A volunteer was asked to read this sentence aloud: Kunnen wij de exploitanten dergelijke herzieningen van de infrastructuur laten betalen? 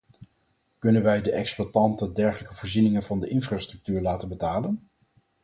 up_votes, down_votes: 2, 4